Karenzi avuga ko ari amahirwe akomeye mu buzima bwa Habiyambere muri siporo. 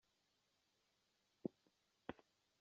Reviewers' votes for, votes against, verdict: 0, 2, rejected